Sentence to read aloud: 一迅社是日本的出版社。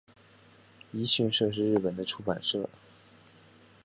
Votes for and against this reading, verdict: 0, 2, rejected